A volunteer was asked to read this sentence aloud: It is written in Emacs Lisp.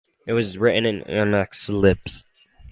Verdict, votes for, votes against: rejected, 0, 2